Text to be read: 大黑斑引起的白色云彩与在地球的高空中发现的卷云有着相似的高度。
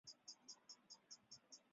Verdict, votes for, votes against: rejected, 0, 2